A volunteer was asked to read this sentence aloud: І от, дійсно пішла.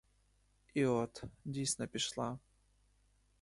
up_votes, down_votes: 2, 0